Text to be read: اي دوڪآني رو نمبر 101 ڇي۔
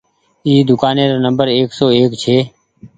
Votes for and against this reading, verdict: 0, 2, rejected